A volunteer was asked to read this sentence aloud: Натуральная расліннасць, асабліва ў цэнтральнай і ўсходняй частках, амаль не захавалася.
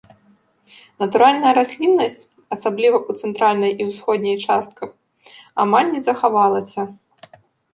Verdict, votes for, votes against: accepted, 2, 0